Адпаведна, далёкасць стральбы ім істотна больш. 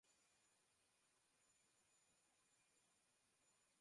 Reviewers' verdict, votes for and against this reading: rejected, 0, 2